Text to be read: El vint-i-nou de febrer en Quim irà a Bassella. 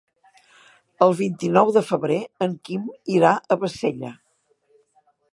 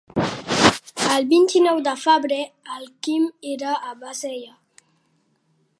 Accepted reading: first